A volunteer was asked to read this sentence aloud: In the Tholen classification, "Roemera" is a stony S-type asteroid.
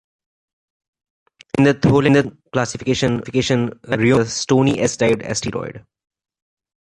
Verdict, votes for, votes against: rejected, 1, 2